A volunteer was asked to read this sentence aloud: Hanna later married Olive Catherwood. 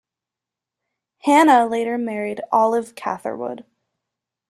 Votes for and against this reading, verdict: 2, 0, accepted